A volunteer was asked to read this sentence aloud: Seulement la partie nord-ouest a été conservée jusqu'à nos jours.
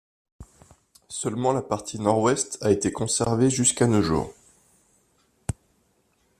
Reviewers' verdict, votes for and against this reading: accepted, 2, 0